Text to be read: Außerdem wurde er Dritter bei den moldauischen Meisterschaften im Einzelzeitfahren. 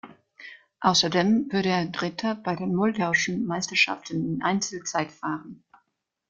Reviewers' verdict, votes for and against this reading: rejected, 1, 2